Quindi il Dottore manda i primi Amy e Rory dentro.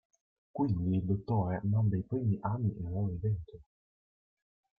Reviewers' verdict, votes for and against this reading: rejected, 0, 2